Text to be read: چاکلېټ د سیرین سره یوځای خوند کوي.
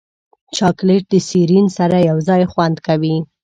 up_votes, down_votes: 2, 0